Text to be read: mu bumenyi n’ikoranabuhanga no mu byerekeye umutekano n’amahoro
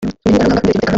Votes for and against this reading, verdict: 0, 2, rejected